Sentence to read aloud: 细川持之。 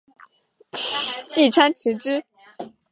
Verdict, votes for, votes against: rejected, 1, 2